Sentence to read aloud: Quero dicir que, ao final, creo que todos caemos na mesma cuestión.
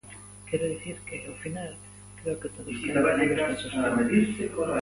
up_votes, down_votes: 0, 2